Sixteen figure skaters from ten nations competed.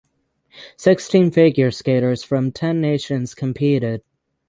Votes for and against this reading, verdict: 6, 0, accepted